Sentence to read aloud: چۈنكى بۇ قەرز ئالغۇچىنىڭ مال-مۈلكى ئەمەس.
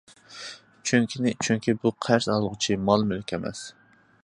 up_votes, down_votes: 0, 2